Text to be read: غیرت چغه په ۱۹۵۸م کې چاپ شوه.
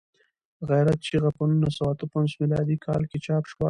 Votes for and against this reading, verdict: 0, 2, rejected